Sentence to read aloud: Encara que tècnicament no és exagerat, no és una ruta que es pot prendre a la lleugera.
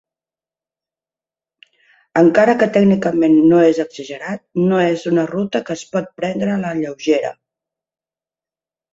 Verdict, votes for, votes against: accepted, 2, 0